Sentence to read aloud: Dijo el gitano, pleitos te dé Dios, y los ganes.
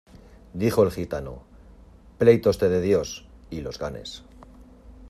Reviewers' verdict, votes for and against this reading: accepted, 2, 0